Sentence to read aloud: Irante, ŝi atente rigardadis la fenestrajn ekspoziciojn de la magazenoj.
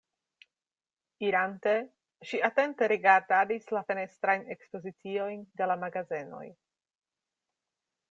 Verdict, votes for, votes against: accepted, 2, 0